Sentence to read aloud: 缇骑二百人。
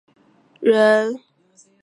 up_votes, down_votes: 1, 2